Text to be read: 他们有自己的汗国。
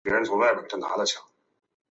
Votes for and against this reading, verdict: 2, 1, accepted